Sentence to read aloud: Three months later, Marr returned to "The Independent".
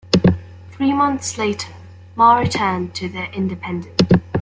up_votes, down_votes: 2, 0